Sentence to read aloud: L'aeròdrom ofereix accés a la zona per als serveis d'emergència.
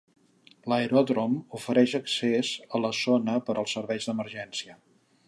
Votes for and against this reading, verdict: 1, 2, rejected